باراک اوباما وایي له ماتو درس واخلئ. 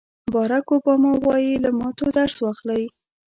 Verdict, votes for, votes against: accepted, 2, 0